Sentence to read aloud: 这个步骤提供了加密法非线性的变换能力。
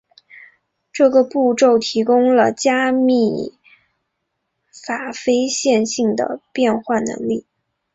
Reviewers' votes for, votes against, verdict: 4, 0, accepted